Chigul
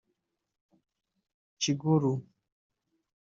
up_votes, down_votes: 1, 2